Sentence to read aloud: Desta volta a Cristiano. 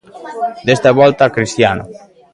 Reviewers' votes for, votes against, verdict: 2, 1, accepted